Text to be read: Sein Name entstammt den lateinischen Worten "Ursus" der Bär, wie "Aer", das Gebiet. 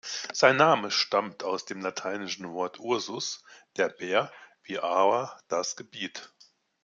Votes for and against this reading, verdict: 0, 2, rejected